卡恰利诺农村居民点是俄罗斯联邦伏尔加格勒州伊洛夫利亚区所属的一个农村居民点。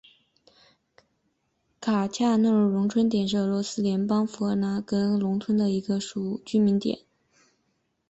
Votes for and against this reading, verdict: 1, 2, rejected